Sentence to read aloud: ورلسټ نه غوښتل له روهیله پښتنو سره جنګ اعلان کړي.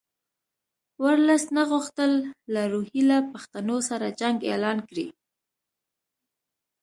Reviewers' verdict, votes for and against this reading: accepted, 2, 0